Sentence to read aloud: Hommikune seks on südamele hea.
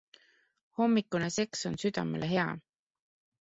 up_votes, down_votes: 2, 0